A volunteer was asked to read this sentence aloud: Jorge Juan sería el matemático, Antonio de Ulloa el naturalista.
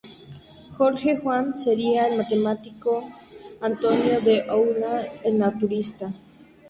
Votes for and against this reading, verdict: 2, 2, rejected